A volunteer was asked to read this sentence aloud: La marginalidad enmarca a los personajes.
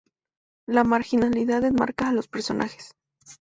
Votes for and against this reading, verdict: 2, 0, accepted